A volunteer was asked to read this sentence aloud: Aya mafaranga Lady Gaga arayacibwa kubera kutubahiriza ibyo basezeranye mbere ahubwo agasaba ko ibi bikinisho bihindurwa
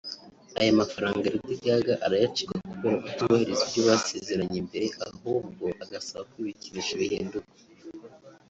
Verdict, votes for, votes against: rejected, 1, 2